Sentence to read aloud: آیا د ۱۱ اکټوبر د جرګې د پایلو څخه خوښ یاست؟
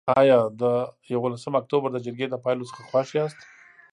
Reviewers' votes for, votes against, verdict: 0, 2, rejected